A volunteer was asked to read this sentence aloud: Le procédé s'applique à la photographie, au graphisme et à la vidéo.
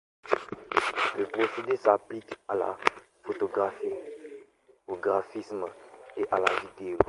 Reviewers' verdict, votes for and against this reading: rejected, 1, 2